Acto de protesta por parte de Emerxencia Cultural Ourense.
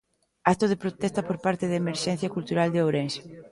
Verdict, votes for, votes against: rejected, 0, 2